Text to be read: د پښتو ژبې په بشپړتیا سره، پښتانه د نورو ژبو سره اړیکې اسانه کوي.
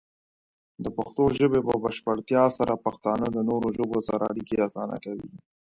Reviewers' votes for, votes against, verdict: 2, 0, accepted